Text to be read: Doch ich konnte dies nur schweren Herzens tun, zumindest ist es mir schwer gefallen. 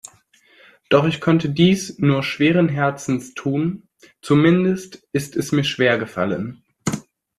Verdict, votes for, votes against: accepted, 2, 0